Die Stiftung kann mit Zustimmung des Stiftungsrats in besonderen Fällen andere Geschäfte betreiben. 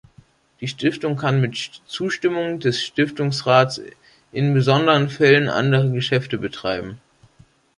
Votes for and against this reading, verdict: 1, 2, rejected